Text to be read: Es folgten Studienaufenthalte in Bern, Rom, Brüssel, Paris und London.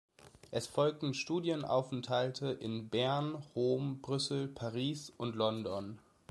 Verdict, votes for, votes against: accepted, 2, 0